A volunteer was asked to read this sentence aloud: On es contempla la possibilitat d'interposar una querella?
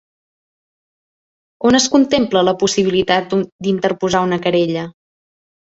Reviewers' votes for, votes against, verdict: 0, 2, rejected